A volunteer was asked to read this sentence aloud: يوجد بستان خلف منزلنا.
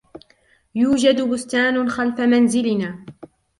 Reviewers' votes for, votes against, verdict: 2, 0, accepted